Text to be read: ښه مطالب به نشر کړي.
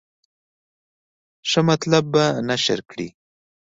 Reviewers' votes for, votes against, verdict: 2, 0, accepted